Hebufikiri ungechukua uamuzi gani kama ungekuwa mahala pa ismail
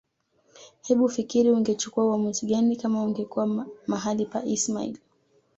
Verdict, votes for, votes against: accepted, 2, 0